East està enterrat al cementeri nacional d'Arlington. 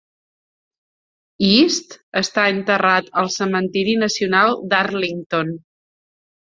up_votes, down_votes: 2, 0